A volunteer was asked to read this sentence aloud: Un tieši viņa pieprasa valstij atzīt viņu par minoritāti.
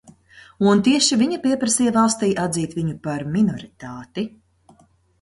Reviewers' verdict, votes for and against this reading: rejected, 0, 2